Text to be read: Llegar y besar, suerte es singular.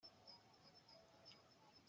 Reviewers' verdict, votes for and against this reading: rejected, 0, 2